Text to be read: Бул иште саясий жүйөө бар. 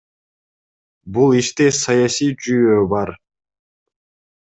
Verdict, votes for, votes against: accepted, 2, 0